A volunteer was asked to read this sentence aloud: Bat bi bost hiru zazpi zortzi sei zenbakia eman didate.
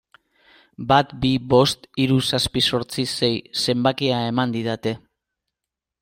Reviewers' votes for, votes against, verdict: 2, 0, accepted